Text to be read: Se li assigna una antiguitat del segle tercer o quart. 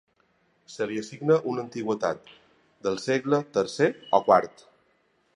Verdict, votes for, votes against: accepted, 2, 1